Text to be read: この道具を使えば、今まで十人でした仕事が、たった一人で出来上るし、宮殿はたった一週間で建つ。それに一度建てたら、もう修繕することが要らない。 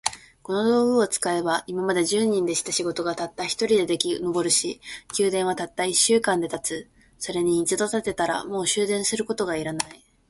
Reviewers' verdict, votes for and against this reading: rejected, 1, 2